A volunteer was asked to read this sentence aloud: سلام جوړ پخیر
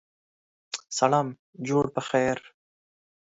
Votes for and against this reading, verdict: 2, 0, accepted